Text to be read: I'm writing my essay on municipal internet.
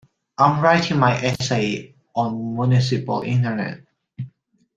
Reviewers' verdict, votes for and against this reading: accepted, 2, 0